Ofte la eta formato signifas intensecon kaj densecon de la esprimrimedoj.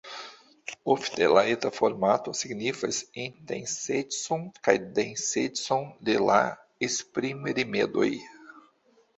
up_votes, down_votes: 1, 2